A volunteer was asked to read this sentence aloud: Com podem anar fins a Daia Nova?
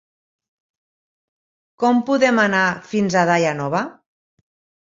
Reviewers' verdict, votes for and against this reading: accepted, 4, 0